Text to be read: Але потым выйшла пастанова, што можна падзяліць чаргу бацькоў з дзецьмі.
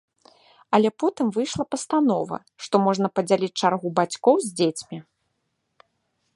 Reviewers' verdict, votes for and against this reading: accepted, 2, 0